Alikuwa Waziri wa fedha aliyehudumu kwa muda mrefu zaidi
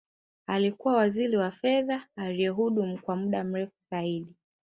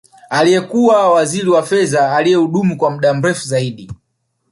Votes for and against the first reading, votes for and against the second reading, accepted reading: 2, 0, 1, 3, first